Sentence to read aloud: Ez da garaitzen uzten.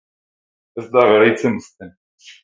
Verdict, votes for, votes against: accepted, 4, 2